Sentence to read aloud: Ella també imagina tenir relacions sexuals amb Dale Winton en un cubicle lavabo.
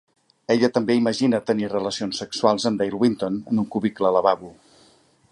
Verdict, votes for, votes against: accepted, 4, 0